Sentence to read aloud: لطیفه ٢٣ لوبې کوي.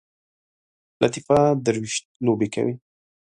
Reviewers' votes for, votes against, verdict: 0, 2, rejected